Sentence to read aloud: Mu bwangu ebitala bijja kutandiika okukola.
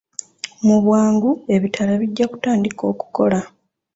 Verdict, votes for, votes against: rejected, 0, 2